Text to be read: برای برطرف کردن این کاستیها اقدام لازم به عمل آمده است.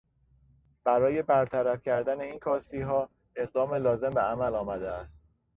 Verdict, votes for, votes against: accepted, 2, 0